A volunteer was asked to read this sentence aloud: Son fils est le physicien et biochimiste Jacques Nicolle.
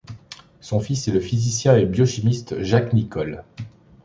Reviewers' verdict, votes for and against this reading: accepted, 2, 0